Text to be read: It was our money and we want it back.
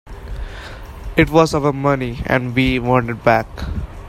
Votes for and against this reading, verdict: 3, 0, accepted